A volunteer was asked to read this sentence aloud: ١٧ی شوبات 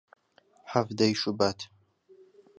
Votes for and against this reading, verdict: 0, 2, rejected